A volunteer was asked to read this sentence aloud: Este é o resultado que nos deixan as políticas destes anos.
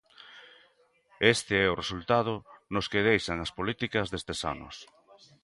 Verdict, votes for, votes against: rejected, 0, 2